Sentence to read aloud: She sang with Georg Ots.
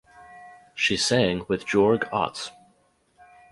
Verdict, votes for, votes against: rejected, 2, 2